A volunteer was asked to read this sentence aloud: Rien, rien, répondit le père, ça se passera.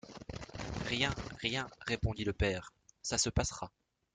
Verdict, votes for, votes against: accepted, 2, 0